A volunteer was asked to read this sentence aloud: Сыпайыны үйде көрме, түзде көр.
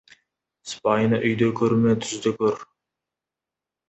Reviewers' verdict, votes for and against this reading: accepted, 2, 0